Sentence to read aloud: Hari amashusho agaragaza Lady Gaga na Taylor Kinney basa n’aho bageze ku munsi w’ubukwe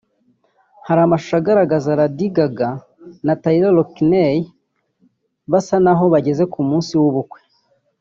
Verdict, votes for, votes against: rejected, 0, 2